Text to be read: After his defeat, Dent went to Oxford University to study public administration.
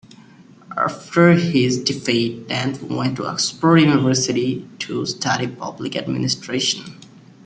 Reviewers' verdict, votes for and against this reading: accepted, 2, 1